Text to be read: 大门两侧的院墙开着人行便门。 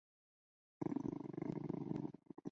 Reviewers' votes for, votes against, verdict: 1, 4, rejected